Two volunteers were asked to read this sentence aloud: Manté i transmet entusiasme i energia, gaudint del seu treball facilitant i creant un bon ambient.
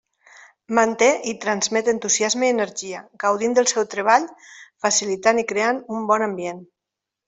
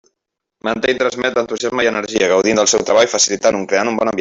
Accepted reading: first